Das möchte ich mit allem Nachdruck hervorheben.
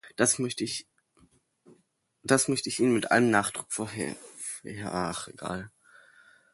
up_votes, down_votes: 0, 2